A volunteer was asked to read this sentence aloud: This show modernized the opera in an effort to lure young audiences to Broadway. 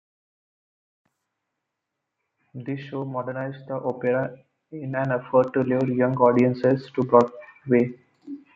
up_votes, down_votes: 1, 2